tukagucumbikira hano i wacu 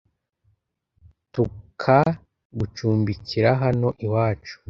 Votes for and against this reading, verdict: 2, 0, accepted